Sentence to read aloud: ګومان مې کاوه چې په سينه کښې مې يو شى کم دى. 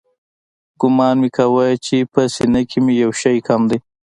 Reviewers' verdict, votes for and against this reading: accepted, 2, 1